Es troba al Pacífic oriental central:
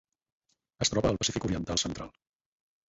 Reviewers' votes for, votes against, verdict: 6, 2, accepted